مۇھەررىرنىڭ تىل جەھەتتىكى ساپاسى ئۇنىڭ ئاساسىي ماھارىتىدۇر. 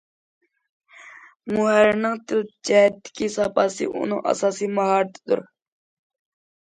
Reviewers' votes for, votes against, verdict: 2, 1, accepted